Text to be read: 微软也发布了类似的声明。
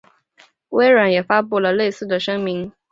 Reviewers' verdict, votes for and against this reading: accepted, 2, 0